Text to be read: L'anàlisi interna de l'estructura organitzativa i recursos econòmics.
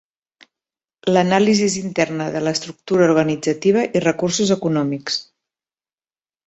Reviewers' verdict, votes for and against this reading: rejected, 0, 2